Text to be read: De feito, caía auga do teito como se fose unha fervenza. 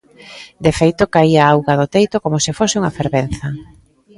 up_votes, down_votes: 0, 2